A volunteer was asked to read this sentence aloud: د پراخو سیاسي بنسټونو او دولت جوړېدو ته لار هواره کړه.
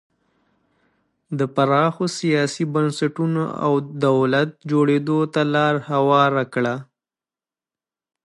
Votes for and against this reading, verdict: 2, 0, accepted